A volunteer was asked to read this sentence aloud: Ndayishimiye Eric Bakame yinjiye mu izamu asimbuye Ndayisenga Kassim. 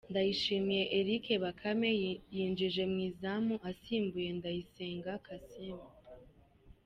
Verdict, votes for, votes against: accepted, 2, 1